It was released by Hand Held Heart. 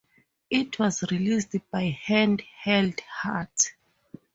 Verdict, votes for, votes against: accepted, 4, 0